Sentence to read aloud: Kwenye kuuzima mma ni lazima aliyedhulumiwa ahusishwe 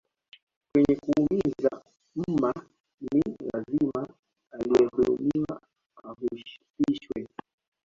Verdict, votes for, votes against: rejected, 0, 2